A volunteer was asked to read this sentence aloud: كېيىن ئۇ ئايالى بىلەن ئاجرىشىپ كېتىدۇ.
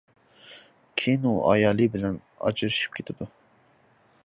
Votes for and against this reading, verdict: 2, 1, accepted